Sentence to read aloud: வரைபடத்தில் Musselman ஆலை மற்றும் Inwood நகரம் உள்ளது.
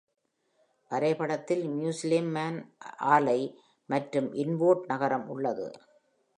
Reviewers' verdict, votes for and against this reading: rejected, 2, 3